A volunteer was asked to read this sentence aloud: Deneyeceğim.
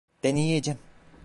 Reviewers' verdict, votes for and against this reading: rejected, 0, 2